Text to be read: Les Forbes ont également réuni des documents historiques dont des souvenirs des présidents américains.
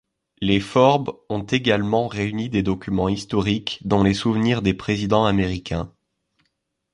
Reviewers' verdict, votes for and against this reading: rejected, 0, 2